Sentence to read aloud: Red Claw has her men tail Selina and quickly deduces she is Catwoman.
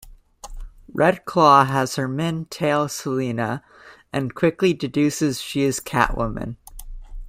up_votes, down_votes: 2, 0